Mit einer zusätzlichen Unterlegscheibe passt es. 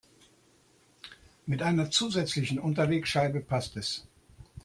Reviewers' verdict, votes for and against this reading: accepted, 2, 0